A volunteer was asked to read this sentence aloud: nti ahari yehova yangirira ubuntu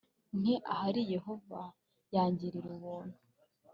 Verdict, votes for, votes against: accepted, 2, 0